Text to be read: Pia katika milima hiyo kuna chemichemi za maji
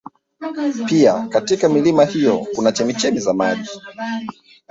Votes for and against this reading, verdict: 0, 4, rejected